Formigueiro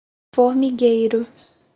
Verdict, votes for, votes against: accepted, 4, 0